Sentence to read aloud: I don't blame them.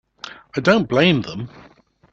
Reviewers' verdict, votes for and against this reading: accepted, 2, 0